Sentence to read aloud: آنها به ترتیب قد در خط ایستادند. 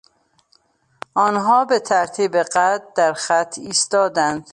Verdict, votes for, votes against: accepted, 2, 0